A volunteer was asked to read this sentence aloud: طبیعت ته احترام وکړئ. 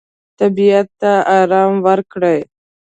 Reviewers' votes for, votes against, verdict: 0, 2, rejected